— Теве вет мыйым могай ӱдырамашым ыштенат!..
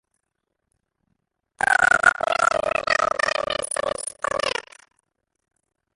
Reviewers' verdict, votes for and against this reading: rejected, 0, 2